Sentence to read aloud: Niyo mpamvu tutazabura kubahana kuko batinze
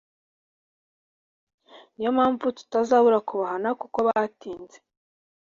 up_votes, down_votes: 2, 0